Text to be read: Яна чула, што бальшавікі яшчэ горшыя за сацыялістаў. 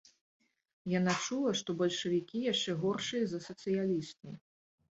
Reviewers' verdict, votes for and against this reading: accepted, 2, 0